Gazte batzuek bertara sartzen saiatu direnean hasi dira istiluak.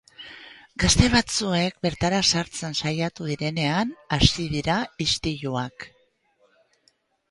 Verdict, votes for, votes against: rejected, 2, 2